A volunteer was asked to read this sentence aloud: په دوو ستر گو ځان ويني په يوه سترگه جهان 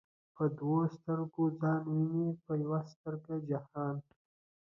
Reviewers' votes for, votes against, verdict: 2, 0, accepted